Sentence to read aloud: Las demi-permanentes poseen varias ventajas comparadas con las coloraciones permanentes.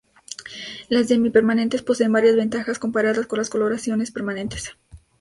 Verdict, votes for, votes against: accepted, 2, 0